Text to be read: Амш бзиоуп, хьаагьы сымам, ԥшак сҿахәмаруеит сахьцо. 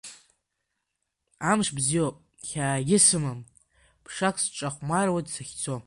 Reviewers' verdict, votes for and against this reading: rejected, 1, 2